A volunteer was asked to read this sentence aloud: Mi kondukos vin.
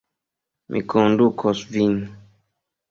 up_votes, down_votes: 2, 0